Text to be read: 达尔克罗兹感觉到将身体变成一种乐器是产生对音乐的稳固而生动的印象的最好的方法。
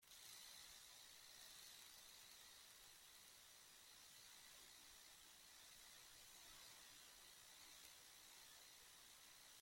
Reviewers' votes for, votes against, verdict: 0, 2, rejected